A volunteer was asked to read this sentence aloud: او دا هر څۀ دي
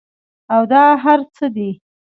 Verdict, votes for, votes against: accepted, 2, 0